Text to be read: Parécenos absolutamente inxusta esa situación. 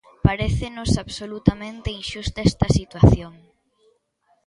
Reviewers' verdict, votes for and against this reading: rejected, 1, 2